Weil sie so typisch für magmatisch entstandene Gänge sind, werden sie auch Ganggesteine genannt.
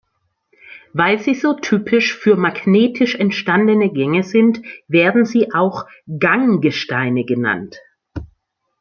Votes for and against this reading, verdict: 1, 2, rejected